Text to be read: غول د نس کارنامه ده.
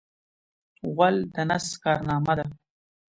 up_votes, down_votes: 2, 0